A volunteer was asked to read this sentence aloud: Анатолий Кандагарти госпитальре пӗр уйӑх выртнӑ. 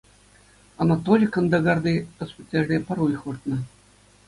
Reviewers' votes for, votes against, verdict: 2, 0, accepted